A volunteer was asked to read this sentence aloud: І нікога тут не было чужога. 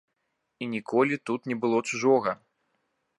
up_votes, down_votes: 1, 2